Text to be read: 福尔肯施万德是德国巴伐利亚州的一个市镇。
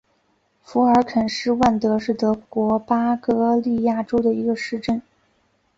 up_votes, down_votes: 2, 4